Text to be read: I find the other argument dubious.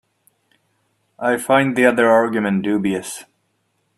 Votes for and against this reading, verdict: 2, 0, accepted